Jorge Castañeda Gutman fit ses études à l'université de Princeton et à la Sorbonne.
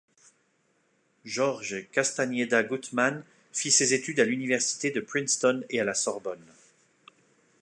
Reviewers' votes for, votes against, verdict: 2, 0, accepted